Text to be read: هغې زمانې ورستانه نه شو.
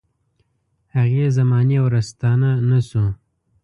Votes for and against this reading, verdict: 2, 0, accepted